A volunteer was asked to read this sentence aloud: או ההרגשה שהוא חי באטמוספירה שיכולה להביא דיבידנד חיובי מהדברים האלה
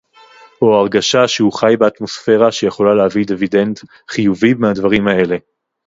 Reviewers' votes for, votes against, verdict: 4, 0, accepted